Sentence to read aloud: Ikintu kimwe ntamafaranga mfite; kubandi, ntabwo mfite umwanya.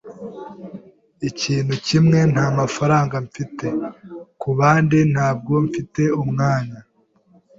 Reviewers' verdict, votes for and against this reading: accepted, 2, 0